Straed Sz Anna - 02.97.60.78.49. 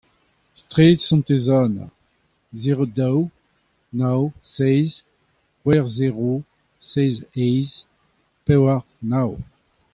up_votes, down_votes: 0, 2